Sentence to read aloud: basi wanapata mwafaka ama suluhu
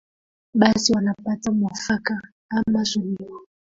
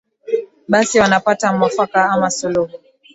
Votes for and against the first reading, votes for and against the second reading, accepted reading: 0, 2, 16, 1, second